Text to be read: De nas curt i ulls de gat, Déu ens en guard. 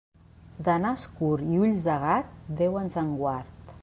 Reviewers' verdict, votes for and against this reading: accepted, 2, 0